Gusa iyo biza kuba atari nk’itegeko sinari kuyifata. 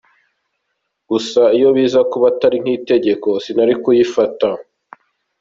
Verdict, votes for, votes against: accepted, 4, 0